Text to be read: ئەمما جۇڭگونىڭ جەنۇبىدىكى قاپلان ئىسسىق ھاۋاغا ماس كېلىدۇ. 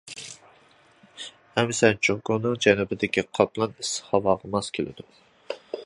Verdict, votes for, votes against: rejected, 0, 2